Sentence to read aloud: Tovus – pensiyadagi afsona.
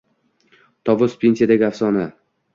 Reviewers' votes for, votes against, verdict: 2, 0, accepted